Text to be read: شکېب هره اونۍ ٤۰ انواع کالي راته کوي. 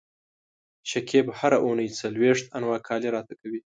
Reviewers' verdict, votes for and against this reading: rejected, 0, 2